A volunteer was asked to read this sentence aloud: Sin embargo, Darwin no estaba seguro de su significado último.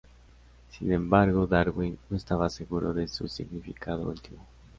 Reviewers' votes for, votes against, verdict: 2, 0, accepted